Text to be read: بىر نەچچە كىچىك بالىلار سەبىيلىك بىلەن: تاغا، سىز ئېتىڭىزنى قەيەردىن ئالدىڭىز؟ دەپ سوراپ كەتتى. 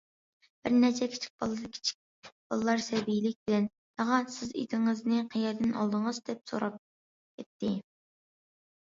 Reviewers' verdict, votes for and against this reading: rejected, 0, 2